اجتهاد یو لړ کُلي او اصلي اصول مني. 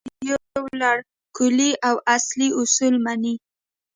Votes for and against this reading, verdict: 1, 2, rejected